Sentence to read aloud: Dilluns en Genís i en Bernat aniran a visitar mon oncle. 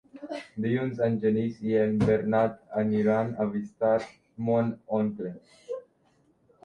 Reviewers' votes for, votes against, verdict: 1, 2, rejected